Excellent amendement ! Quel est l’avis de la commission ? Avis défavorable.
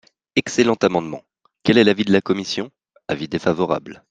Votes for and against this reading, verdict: 3, 0, accepted